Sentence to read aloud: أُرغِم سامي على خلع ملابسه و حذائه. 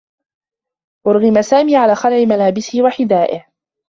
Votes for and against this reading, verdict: 2, 0, accepted